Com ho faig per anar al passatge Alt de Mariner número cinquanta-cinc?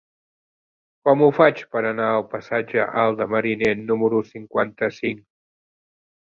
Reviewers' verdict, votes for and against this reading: accepted, 2, 0